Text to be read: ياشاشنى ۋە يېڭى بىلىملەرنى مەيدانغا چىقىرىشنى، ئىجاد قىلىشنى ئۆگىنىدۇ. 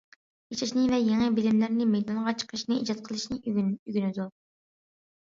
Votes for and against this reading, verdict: 0, 2, rejected